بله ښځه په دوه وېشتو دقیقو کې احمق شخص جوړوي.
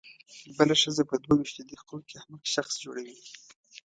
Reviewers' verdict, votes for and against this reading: accepted, 2, 0